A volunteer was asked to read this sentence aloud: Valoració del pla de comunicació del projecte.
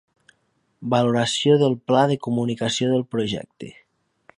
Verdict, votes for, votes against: accepted, 3, 0